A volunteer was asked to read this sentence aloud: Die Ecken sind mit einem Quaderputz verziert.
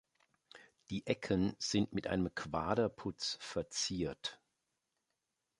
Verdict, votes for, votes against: accepted, 2, 0